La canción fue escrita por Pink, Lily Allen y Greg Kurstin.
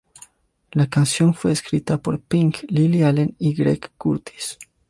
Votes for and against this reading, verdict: 1, 2, rejected